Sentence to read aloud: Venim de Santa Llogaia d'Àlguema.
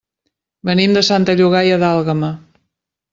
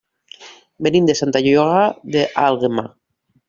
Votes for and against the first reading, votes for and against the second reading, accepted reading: 3, 0, 0, 2, first